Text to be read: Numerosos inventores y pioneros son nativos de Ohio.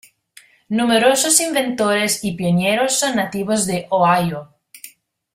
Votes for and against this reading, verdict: 1, 2, rejected